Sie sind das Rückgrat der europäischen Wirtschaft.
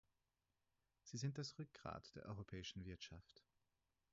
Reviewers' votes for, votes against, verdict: 2, 4, rejected